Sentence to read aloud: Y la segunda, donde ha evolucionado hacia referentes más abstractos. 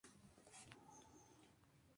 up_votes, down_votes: 0, 2